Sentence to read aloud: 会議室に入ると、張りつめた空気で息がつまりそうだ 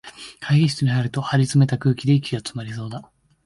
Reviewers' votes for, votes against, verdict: 1, 2, rejected